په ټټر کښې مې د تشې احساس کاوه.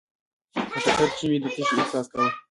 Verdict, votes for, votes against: rejected, 0, 2